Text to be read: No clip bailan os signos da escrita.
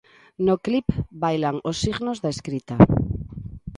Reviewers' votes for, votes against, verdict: 2, 0, accepted